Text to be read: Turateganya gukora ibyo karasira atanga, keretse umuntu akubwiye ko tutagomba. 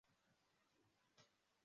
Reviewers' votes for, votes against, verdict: 0, 2, rejected